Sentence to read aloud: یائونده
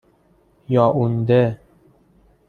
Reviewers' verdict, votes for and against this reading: accepted, 2, 1